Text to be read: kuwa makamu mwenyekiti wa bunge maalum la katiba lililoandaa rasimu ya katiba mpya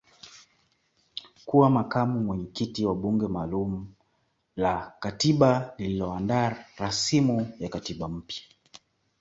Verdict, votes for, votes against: accepted, 2, 0